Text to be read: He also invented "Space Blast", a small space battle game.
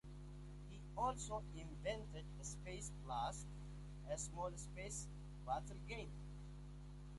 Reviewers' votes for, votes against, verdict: 2, 1, accepted